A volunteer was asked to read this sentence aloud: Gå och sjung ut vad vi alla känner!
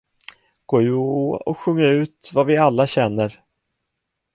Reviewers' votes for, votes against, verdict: 0, 2, rejected